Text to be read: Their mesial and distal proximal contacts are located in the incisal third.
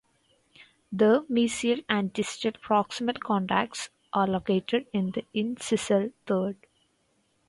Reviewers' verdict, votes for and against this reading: rejected, 0, 4